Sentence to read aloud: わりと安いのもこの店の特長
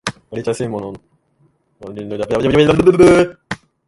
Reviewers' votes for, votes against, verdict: 1, 4, rejected